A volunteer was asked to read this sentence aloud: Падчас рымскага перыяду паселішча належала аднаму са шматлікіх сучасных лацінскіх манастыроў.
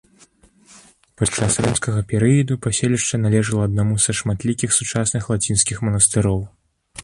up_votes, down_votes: 1, 2